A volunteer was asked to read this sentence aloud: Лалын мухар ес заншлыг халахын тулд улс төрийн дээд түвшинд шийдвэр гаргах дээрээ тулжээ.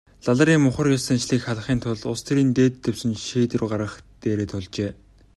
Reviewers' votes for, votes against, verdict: 0, 2, rejected